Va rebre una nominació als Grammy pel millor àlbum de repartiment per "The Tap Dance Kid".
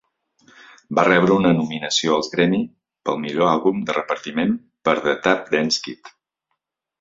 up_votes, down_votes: 2, 0